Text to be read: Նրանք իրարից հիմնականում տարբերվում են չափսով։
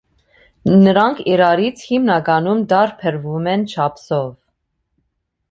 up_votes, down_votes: 2, 0